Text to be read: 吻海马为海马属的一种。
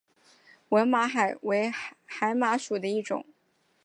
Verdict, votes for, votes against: rejected, 2, 3